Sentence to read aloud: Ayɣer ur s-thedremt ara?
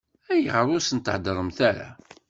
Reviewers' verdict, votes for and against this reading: rejected, 1, 2